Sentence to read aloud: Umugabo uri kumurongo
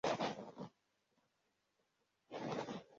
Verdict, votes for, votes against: rejected, 0, 2